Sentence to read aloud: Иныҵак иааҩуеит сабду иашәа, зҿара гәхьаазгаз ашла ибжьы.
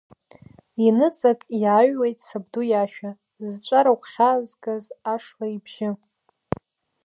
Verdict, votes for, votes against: accepted, 2, 0